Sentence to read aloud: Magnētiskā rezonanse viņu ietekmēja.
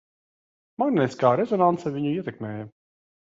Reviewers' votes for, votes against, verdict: 3, 1, accepted